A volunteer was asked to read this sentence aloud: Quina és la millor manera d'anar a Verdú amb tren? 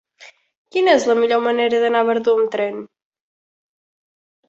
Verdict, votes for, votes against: accepted, 2, 0